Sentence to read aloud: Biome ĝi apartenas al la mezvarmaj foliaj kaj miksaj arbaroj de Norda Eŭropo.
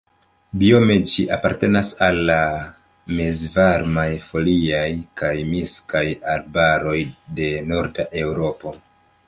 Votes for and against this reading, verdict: 0, 2, rejected